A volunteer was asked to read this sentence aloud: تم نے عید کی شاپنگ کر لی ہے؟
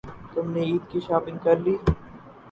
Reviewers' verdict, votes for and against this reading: rejected, 2, 4